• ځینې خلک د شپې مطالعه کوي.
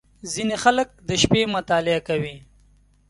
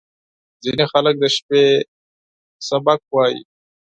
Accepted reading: first